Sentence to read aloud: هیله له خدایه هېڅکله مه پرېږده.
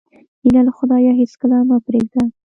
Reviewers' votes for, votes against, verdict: 0, 2, rejected